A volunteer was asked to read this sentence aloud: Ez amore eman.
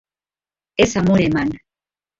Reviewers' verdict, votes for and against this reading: accepted, 4, 2